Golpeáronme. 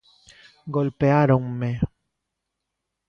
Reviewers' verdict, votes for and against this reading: accepted, 2, 0